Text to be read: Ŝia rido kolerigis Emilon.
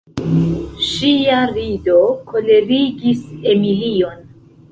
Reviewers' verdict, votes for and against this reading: rejected, 1, 2